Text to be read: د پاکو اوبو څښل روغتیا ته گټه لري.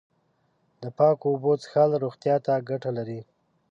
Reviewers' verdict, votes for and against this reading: accepted, 2, 0